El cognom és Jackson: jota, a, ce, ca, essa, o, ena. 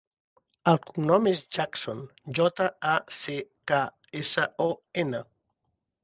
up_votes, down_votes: 3, 0